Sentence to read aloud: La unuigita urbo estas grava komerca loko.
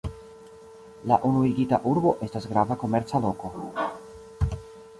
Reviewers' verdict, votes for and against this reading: accepted, 2, 1